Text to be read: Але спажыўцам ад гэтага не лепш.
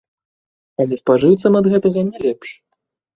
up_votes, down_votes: 1, 2